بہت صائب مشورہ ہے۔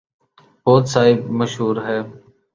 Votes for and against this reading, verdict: 1, 2, rejected